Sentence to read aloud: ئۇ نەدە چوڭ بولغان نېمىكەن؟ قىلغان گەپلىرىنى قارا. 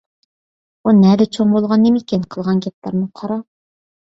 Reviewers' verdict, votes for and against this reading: accepted, 2, 0